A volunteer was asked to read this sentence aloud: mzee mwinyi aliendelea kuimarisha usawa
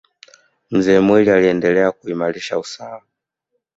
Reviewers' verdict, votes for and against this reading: accepted, 2, 0